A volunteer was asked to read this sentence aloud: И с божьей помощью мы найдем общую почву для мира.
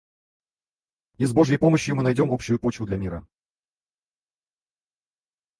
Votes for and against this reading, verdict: 2, 4, rejected